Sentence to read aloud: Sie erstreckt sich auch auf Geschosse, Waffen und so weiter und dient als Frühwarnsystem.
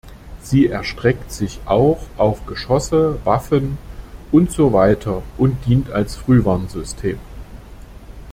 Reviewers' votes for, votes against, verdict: 2, 0, accepted